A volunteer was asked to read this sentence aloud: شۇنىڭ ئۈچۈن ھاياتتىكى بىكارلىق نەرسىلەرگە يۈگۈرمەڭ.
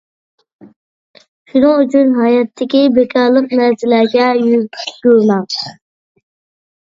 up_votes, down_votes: 0, 2